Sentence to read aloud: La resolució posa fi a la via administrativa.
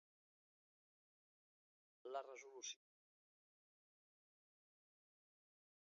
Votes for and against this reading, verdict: 0, 2, rejected